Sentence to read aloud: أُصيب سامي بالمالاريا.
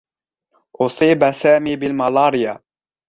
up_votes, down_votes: 2, 0